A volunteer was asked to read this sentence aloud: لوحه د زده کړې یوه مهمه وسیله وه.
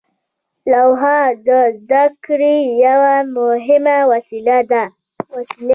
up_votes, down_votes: 2, 0